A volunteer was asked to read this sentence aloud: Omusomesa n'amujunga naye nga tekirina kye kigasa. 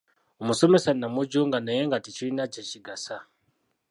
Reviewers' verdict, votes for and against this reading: rejected, 0, 2